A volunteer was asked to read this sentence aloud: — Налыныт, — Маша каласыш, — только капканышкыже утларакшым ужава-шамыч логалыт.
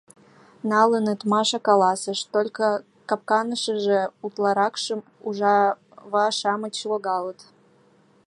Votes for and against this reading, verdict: 0, 2, rejected